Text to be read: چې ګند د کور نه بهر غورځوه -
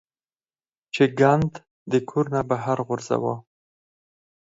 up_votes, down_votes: 2, 4